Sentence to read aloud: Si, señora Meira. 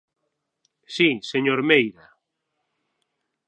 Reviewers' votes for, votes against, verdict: 0, 6, rejected